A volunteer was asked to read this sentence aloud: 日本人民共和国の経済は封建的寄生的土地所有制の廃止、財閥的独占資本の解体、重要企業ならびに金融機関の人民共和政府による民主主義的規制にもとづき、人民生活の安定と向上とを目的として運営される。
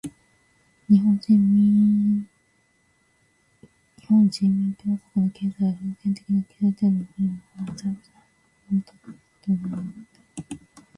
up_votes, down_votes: 1, 2